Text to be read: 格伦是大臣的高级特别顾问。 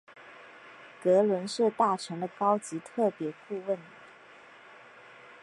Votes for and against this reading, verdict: 5, 0, accepted